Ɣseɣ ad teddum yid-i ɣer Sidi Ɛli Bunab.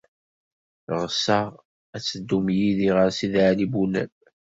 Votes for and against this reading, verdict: 2, 0, accepted